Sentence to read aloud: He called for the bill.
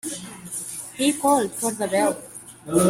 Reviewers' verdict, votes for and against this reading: rejected, 1, 2